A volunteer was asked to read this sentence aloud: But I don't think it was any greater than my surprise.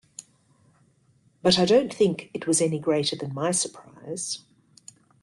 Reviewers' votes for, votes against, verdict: 2, 0, accepted